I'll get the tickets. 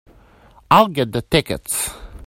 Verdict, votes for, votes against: accepted, 2, 0